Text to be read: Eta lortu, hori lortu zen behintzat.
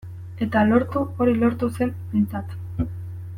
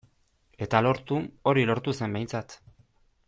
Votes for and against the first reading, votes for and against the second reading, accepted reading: 0, 2, 2, 0, second